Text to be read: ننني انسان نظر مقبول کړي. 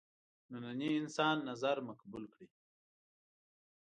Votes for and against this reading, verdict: 1, 2, rejected